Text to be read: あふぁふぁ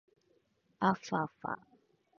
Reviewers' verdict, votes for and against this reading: accepted, 2, 1